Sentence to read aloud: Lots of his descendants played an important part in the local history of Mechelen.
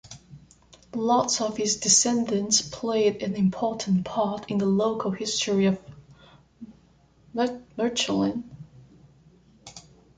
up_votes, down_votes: 0, 2